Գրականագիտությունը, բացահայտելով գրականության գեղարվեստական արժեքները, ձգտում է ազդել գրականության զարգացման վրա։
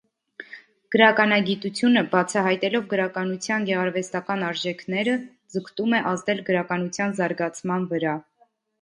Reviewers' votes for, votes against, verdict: 2, 0, accepted